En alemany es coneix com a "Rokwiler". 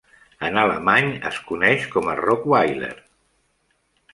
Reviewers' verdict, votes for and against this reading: accepted, 2, 0